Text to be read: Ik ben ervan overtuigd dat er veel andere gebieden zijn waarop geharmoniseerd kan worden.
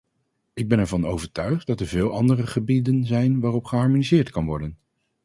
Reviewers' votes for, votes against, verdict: 0, 2, rejected